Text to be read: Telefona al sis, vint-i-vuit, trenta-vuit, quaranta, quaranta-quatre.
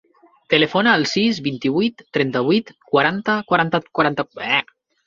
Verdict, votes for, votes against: rejected, 0, 2